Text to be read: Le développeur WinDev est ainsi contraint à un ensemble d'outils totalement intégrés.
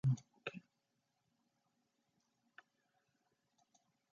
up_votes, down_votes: 0, 2